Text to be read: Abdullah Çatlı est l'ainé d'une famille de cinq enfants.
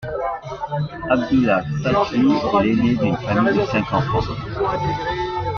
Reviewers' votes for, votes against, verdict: 2, 1, accepted